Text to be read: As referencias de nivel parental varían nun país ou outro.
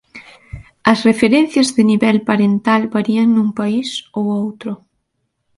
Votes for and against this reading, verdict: 2, 0, accepted